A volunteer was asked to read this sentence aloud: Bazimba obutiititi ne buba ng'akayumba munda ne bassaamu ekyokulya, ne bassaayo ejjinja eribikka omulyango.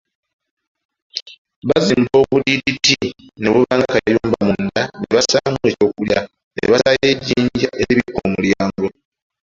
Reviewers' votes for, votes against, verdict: 1, 2, rejected